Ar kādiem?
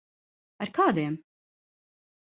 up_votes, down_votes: 2, 0